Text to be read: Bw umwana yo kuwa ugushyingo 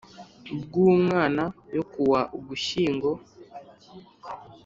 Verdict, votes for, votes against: accepted, 5, 0